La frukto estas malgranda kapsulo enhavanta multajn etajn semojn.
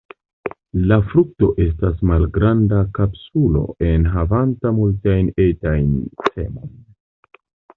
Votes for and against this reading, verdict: 1, 2, rejected